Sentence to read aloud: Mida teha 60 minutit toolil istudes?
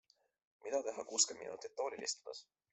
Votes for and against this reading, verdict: 0, 2, rejected